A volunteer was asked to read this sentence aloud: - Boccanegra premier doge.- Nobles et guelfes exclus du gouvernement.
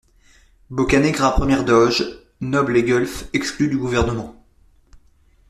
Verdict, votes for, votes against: rejected, 1, 2